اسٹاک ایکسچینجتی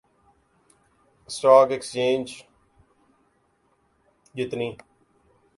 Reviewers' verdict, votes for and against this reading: rejected, 0, 2